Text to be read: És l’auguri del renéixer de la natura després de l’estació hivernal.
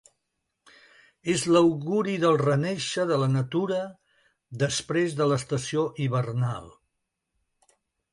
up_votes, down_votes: 2, 0